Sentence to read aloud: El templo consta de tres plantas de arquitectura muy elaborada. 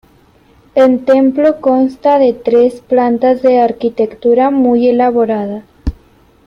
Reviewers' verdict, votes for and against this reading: rejected, 1, 2